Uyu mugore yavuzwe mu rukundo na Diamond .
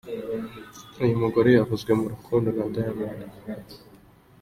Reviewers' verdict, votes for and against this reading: accepted, 2, 0